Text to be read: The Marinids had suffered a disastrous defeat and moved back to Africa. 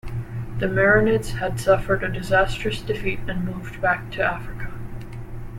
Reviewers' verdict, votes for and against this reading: rejected, 0, 2